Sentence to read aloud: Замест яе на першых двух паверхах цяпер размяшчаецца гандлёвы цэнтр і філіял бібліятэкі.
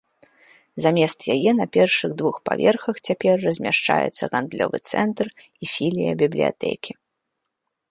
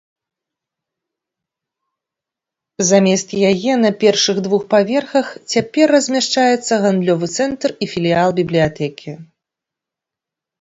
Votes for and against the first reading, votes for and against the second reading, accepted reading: 1, 2, 2, 0, second